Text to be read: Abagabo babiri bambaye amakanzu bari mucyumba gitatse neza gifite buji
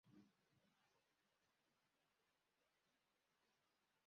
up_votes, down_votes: 0, 2